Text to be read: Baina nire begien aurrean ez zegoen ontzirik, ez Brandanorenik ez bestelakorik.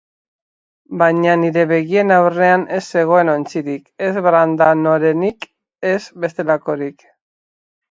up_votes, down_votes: 6, 0